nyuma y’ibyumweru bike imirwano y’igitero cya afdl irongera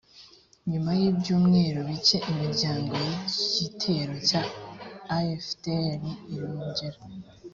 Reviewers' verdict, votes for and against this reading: rejected, 0, 2